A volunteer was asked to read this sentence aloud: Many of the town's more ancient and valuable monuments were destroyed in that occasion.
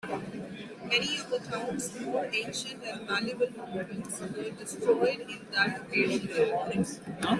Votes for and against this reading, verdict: 1, 2, rejected